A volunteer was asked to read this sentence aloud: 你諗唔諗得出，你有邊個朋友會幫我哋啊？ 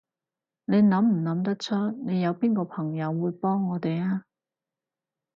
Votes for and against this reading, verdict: 4, 0, accepted